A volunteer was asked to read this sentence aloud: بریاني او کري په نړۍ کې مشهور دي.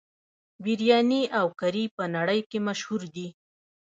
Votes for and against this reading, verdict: 1, 2, rejected